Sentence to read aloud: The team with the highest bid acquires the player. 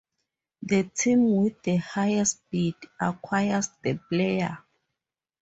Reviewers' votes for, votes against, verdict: 2, 0, accepted